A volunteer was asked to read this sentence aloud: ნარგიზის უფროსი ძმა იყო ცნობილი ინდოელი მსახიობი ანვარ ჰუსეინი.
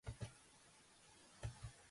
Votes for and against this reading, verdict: 0, 2, rejected